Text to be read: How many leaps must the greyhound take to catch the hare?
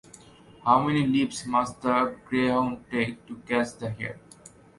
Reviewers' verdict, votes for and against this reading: accepted, 2, 0